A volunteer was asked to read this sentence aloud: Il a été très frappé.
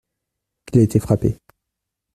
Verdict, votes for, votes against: rejected, 0, 2